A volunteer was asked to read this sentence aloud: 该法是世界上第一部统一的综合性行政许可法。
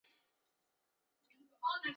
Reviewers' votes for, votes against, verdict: 0, 3, rejected